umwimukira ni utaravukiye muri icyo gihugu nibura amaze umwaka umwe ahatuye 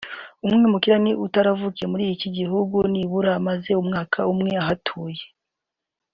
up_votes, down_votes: 1, 2